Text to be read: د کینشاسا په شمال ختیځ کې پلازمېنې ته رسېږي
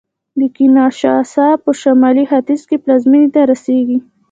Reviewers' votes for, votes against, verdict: 2, 0, accepted